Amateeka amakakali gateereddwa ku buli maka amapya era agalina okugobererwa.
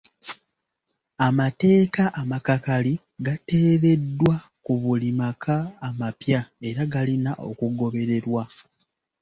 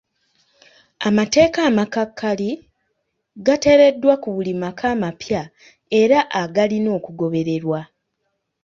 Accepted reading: second